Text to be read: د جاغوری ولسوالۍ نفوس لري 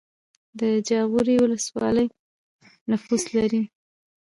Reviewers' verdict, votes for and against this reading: rejected, 0, 2